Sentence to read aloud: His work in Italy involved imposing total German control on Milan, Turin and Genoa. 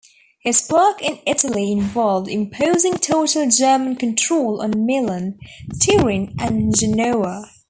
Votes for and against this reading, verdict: 2, 1, accepted